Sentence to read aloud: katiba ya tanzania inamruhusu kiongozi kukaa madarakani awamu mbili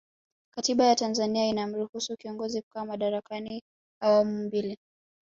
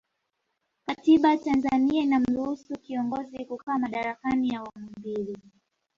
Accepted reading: first